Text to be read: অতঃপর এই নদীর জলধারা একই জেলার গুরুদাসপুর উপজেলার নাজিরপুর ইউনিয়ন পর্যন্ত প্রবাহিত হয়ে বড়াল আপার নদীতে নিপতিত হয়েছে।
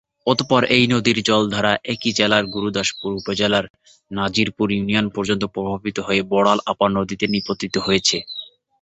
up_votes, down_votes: 2, 0